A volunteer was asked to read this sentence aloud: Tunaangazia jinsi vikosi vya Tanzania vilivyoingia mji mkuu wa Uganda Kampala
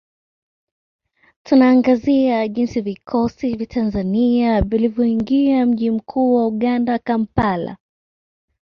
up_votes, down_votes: 2, 0